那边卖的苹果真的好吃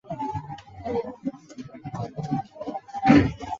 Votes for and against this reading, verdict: 2, 4, rejected